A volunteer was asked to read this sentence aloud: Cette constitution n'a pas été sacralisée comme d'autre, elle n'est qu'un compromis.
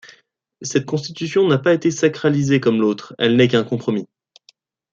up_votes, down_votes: 1, 2